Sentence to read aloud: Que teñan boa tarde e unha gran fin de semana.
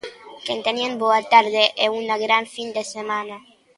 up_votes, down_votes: 2, 1